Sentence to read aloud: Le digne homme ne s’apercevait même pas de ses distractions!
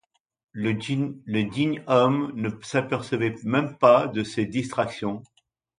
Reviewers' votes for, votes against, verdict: 1, 2, rejected